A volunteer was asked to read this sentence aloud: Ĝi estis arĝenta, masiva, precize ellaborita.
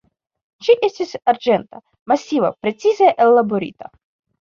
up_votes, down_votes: 2, 0